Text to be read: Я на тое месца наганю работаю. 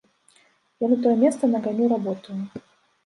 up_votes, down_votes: 1, 2